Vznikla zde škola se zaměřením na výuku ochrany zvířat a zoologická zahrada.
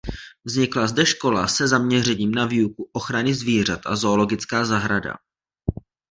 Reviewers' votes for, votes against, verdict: 2, 0, accepted